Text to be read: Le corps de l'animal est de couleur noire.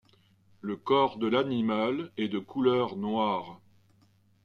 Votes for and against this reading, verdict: 2, 0, accepted